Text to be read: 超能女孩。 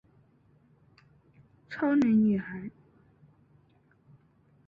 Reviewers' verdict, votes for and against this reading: accepted, 3, 0